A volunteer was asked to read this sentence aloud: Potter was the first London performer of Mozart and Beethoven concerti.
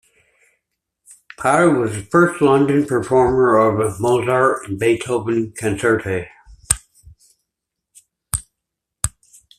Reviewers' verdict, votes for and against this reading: accepted, 2, 1